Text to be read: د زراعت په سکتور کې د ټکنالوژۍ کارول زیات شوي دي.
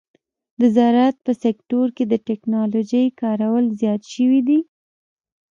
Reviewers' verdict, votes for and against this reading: rejected, 1, 2